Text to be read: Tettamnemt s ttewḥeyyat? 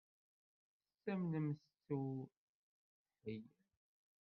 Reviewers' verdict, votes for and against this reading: rejected, 0, 2